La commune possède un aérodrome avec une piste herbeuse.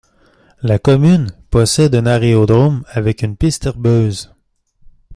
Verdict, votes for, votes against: rejected, 1, 3